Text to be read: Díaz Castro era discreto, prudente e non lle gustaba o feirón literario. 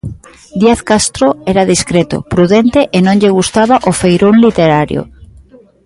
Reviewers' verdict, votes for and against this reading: accepted, 2, 0